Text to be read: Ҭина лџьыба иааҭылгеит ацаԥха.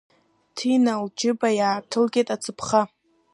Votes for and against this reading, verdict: 2, 0, accepted